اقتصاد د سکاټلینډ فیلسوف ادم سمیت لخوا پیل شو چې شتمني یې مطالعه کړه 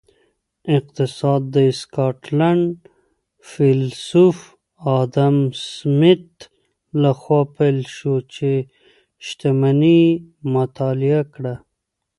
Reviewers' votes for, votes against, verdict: 0, 2, rejected